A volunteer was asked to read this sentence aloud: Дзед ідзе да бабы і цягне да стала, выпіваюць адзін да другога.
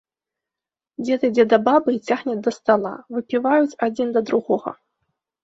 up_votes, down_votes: 2, 0